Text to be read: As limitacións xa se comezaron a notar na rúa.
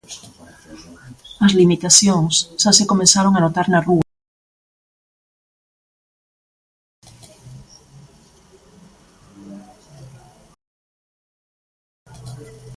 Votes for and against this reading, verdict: 0, 2, rejected